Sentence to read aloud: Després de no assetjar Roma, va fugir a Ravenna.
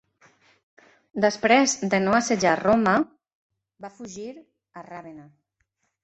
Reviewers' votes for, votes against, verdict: 1, 2, rejected